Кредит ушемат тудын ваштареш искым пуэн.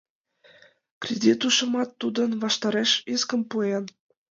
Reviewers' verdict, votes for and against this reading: accepted, 2, 0